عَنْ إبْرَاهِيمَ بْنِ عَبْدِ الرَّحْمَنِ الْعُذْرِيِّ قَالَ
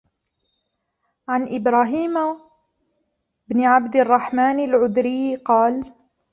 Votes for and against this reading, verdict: 2, 1, accepted